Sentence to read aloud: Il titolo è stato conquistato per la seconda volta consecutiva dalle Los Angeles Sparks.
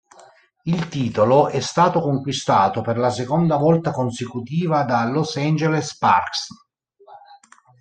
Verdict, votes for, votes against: rejected, 0, 2